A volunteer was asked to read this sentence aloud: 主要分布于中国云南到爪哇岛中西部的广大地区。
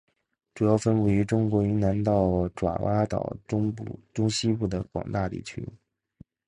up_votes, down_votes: 4, 1